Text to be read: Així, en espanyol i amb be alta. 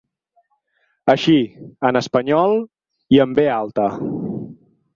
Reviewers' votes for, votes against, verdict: 8, 0, accepted